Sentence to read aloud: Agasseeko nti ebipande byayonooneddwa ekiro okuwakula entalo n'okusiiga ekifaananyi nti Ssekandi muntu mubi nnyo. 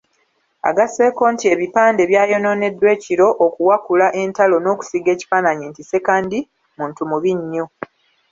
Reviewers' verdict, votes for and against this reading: rejected, 1, 2